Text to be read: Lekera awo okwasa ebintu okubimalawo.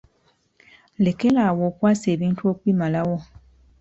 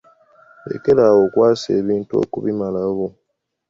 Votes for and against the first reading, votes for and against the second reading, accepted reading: 1, 2, 2, 0, second